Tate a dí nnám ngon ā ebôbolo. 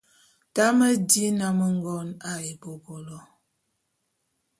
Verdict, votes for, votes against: rejected, 0, 2